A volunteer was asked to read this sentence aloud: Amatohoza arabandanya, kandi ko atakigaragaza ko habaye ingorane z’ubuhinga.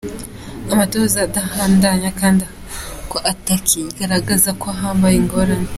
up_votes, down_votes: 0, 2